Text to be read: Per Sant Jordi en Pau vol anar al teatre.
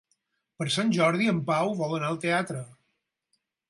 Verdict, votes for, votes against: accepted, 4, 0